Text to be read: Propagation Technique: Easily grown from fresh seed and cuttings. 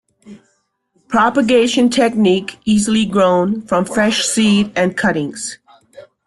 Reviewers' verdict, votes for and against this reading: rejected, 0, 2